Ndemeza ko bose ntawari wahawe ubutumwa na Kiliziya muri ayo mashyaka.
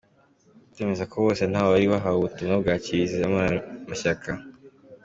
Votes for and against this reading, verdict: 2, 0, accepted